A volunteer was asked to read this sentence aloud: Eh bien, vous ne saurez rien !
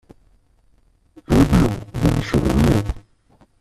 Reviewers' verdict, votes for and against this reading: rejected, 0, 2